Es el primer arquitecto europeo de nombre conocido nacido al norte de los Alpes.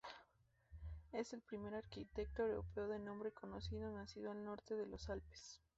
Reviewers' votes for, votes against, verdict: 0, 2, rejected